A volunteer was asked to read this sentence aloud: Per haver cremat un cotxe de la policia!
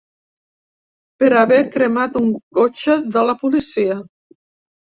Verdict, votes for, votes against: accepted, 3, 0